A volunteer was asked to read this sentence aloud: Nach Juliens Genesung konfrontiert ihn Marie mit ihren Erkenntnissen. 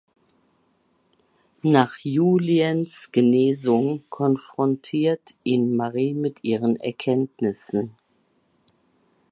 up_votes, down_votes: 1, 2